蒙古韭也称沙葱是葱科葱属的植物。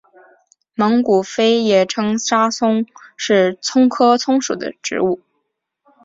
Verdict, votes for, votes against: accepted, 2, 0